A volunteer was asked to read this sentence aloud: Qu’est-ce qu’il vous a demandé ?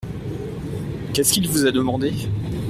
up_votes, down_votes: 1, 2